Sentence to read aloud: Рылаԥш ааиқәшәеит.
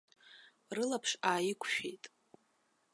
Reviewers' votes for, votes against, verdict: 1, 2, rejected